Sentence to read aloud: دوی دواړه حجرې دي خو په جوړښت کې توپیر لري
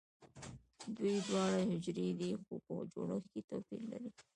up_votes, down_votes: 1, 2